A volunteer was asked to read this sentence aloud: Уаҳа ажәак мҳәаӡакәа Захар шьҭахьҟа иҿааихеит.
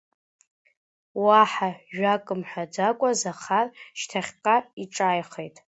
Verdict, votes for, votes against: accepted, 2, 1